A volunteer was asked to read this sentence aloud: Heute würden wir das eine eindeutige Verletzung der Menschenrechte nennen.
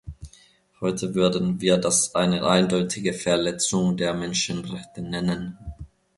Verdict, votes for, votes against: accepted, 2, 0